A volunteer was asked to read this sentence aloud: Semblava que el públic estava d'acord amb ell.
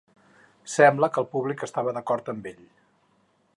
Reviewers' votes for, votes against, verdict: 2, 4, rejected